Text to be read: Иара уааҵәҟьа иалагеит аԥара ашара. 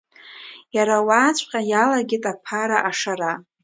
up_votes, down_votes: 2, 1